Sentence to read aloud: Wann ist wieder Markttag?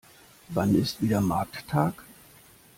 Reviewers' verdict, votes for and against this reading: accepted, 2, 0